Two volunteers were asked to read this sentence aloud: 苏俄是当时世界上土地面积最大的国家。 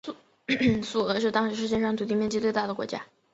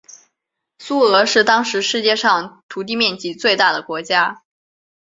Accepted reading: second